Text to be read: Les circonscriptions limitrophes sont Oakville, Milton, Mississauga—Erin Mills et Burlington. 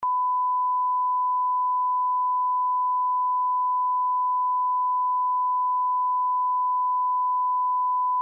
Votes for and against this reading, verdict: 0, 2, rejected